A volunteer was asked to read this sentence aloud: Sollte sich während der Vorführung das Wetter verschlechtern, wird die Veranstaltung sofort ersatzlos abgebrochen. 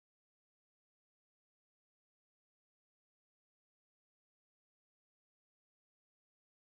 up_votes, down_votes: 0, 2